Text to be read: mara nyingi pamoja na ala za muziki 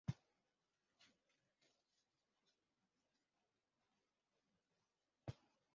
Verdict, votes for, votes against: rejected, 0, 2